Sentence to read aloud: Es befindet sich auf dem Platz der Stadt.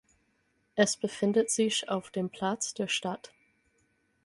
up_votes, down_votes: 6, 0